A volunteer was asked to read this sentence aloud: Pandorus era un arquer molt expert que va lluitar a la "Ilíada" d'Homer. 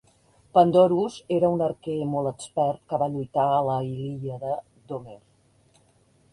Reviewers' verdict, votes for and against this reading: rejected, 0, 3